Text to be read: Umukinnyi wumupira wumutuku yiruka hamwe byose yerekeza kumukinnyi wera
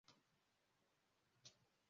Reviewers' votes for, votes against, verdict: 0, 2, rejected